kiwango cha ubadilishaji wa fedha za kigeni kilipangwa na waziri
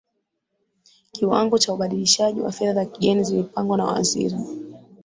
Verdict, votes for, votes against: accepted, 2, 1